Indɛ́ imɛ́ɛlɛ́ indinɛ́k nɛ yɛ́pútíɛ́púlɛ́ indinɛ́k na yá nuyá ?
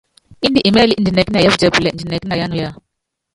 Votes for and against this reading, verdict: 0, 2, rejected